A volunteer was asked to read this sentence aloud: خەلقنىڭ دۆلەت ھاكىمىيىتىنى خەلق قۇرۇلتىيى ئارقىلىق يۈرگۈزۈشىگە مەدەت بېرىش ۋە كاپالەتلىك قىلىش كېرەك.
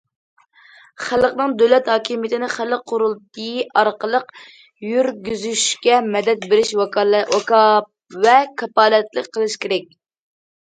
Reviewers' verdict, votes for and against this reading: rejected, 0, 2